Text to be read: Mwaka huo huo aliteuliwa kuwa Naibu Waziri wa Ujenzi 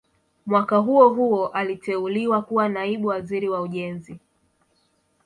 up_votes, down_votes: 2, 0